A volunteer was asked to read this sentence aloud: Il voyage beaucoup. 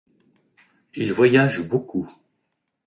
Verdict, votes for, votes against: accepted, 2, 0